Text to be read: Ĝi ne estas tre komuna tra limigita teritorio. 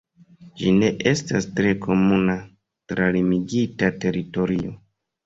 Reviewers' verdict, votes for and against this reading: accepted, 2, 0